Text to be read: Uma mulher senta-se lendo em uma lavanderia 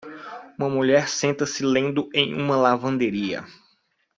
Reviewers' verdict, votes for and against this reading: accepted, 2, 0